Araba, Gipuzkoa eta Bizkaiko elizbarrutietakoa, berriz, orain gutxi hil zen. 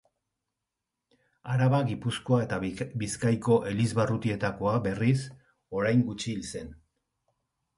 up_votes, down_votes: 1, 2